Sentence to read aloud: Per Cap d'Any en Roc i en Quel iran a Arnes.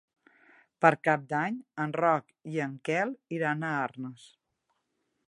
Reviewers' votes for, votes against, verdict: 4, 0, accepted